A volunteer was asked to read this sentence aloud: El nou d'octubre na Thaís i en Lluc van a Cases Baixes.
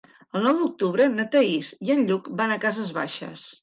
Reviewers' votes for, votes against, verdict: 3, 0, accepted